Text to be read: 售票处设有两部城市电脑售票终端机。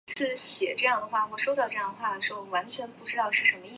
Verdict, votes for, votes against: rejected, 0, 2